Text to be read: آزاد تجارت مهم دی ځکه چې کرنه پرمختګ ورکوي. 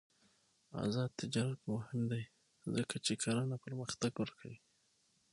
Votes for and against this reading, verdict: 6, 3, accepted